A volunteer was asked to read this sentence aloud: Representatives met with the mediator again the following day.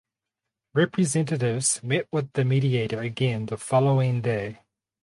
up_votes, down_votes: 4, 0